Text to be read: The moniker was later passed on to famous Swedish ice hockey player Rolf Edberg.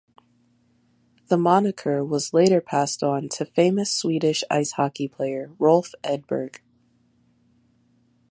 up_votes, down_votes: 3, 0